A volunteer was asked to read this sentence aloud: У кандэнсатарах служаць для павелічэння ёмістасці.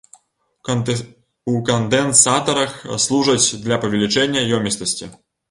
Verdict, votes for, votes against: rejected, 1, 2